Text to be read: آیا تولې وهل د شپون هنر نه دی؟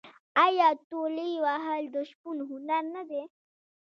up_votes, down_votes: 1, 2